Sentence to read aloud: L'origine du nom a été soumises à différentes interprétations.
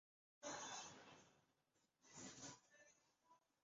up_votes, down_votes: 0, 2